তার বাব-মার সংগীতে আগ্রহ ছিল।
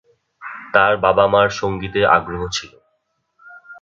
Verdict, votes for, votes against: rejected, 2, 4